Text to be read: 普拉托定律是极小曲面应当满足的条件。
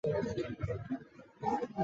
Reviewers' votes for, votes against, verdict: 0, 2, rejected